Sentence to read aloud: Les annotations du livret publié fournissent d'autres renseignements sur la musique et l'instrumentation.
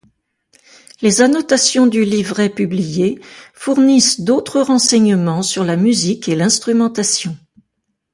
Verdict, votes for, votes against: accepted, 2, 0